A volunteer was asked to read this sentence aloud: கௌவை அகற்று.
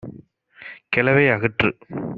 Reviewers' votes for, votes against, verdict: 1, 2, rejected